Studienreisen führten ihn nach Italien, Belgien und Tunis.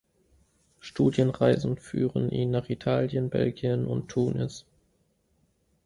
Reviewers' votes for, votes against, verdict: 0, 3, rejected